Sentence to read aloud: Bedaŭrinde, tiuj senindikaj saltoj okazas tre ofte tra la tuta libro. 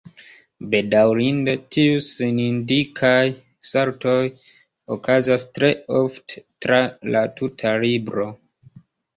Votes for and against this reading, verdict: 1, 2, rejected